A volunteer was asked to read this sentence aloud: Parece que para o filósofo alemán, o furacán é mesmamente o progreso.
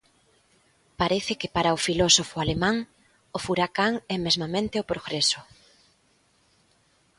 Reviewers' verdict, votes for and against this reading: accepted, 2, 0